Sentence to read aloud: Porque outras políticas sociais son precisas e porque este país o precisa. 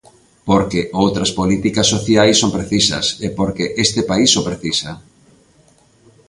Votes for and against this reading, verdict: 2, 0, accepted